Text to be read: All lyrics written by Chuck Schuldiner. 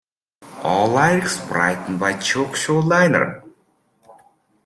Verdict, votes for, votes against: rejected, 0, 2